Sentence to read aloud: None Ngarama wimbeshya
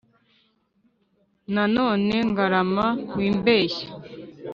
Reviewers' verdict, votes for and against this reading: rejected, 1, 2